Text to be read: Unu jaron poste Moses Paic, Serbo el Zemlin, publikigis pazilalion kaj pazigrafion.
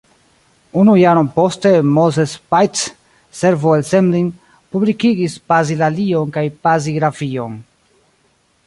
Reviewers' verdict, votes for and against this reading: rejected, 0, 2